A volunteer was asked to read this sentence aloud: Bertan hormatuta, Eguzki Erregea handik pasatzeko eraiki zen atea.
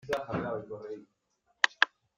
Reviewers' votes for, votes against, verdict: 0, 2, rejected